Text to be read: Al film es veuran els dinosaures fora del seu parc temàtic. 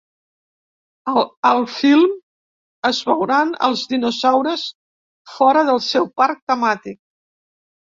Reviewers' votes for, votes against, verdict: 1, 2, rejected